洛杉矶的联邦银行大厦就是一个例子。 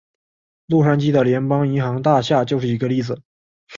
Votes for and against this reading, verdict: 2, 0, accepted